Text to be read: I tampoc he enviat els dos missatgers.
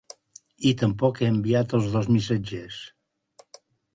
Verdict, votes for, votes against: accepted, 4, 0